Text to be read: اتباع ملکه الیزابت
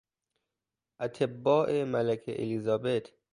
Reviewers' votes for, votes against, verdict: 0, 2, rejected